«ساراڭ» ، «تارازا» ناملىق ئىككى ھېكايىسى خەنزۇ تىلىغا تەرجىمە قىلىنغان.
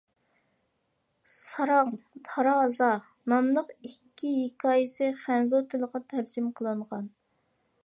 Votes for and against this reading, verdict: 2, 0, accepted